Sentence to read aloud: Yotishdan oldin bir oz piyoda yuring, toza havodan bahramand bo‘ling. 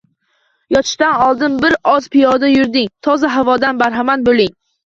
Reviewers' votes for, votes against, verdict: 0, 2, rejected